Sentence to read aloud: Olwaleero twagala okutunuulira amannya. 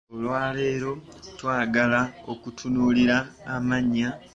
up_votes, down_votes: 2, 0